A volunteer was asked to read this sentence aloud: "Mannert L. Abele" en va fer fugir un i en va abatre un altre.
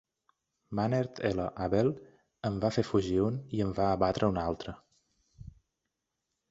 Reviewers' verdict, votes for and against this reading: accepted, 2, 0